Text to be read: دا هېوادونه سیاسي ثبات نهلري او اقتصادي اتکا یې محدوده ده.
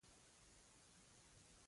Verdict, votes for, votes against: rejected, 1, 2